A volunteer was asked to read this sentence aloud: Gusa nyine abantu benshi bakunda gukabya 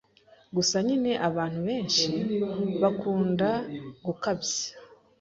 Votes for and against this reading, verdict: 2, 0, accepted